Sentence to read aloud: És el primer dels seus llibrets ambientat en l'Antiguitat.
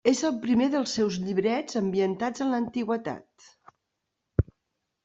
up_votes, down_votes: 0, 2